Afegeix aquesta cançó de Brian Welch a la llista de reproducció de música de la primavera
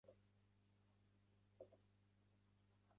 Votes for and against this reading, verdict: 0, 3, rejected